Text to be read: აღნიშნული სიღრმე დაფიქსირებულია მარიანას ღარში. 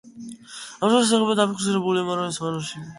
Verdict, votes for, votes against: rejected, 0, 2